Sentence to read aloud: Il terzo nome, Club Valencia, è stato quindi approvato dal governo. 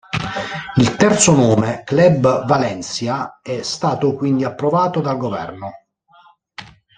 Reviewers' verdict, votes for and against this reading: accepted, 2, 0